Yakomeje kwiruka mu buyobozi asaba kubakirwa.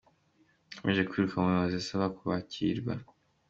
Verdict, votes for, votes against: accepted, 2, 1